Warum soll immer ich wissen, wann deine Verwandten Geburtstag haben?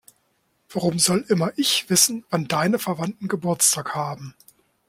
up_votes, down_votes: 2, 0